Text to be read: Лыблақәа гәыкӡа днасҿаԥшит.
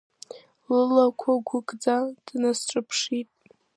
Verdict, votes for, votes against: rejected, 0, 2